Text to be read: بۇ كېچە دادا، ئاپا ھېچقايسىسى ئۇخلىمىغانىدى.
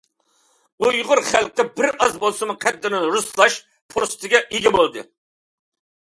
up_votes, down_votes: 0, 2